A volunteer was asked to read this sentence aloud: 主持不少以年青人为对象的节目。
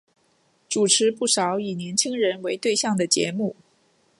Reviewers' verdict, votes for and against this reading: accepted, 4, 0